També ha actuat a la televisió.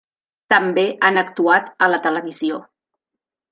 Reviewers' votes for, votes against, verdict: 0, 2, rejected